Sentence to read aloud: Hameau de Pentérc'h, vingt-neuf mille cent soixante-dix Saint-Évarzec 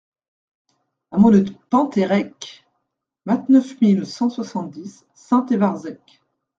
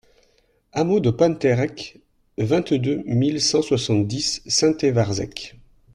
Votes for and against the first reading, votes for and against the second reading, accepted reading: 0, 2, 2, 0, second